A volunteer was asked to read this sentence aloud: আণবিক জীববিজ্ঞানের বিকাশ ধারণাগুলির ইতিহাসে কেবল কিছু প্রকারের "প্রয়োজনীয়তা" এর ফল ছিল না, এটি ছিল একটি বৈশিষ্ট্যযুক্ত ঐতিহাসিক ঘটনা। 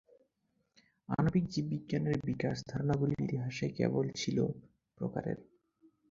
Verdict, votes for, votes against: rejected, 0, 4